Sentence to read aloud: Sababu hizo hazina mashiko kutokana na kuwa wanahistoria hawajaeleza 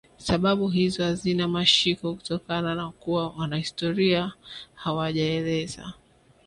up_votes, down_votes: 3, 1